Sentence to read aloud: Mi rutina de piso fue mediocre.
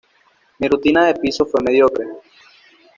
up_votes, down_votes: 2, 0